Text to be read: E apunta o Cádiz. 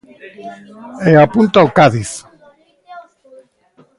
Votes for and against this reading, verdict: 1, 2, rejected